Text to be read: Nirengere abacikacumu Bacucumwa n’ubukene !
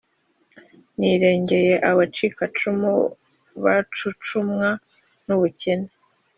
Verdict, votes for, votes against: accepted, 2, 0